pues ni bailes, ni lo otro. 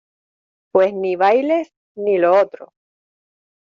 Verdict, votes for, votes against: accepted, 2, 0